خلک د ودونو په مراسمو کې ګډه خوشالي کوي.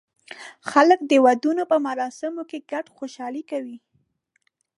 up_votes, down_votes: 1, 2